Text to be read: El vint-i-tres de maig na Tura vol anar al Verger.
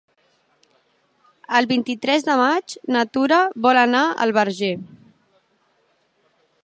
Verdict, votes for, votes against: accepted, 3, 0